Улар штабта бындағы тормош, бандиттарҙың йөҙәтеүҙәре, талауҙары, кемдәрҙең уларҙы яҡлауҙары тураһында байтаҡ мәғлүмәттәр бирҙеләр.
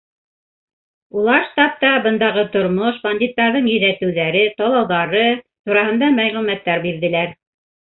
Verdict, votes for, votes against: rejected, 0, 2